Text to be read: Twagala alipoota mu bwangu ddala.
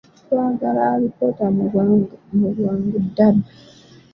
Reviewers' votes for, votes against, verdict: 0, 2, rejected